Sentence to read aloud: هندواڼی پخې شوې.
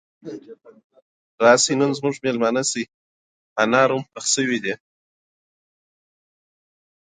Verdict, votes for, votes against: rejected, 1, 2